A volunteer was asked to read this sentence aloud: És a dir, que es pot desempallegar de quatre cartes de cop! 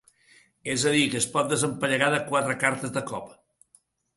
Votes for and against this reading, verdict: 2, 0, accepted